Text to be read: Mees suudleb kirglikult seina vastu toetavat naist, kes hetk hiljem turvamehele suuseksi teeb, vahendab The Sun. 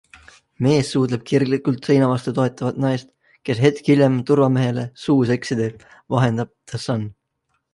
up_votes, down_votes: 2, 0